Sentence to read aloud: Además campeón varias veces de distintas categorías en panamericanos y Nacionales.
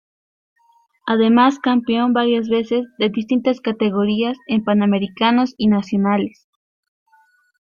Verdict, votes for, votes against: rejected, 0, 2